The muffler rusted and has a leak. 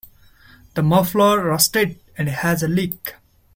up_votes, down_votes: 2, 1